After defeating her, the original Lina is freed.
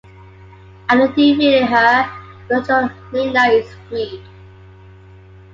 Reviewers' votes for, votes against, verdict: 0, 2, rejected